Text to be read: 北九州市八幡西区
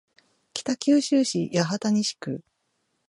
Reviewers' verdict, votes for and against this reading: rejected, 0, 2